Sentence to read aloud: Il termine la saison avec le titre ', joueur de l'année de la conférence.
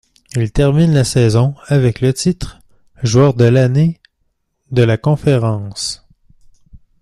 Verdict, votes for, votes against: accepted, 2, 0